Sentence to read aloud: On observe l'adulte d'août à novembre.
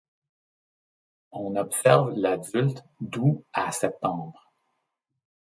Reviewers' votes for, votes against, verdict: 1, 2, rejected